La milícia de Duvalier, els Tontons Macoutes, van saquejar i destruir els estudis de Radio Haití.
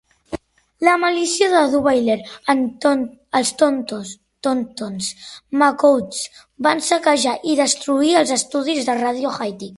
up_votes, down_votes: 0, 2